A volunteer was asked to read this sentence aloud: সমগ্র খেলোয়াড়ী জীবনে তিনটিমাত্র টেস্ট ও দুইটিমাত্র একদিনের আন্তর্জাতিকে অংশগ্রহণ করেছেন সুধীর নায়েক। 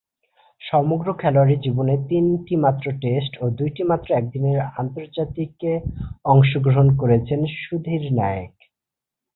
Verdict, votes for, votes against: accepted, 3, 0